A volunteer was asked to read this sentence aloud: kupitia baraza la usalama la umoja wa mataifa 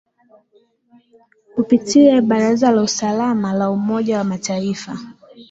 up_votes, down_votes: 2, 0